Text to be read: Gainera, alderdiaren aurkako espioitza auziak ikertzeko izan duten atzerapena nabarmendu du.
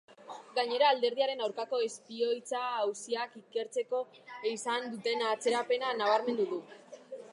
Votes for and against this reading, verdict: 2, 0, accepted